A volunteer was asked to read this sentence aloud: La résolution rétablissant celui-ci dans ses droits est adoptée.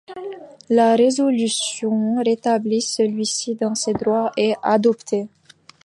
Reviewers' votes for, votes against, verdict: 1, 2, rejected